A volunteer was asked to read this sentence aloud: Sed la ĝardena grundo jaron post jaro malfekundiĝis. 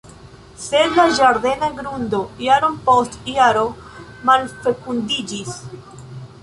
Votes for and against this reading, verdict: 0, 2, rejected